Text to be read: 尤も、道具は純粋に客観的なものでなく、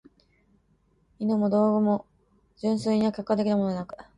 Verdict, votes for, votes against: rejected, 0, 2